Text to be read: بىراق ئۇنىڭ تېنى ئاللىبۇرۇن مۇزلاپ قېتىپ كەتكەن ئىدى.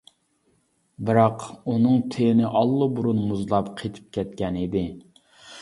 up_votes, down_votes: 2, 0